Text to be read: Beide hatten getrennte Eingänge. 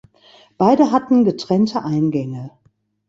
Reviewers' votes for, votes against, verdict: 2, 0, accepted